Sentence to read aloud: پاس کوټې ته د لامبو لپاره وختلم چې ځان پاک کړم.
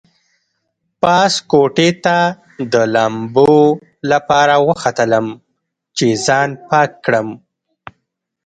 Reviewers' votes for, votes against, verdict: 1, 2, rejected